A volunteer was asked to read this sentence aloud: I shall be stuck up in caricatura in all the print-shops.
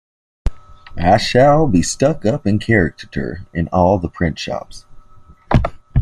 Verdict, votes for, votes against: accepted, 2, 0